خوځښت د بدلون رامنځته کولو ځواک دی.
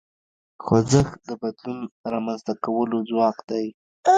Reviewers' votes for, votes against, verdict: 2, 0, accepted